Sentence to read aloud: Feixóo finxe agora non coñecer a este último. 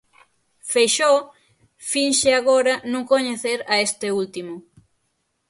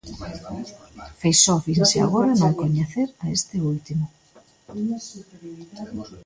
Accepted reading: first